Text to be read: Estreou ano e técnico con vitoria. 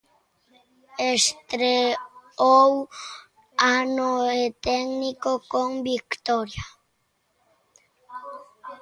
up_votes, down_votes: 0, 2